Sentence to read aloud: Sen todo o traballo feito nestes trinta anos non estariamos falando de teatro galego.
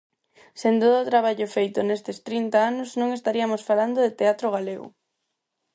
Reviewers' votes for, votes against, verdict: 0, 4, rejected